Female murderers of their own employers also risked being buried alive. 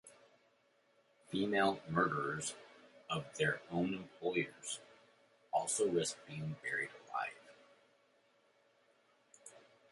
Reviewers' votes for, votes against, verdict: 2, 0, accepted